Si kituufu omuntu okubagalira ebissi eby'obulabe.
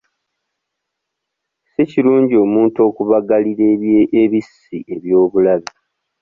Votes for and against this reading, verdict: 0, 2, rejected